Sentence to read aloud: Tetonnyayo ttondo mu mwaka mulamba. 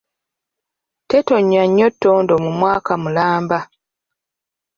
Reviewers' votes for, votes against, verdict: 1, 2, rejected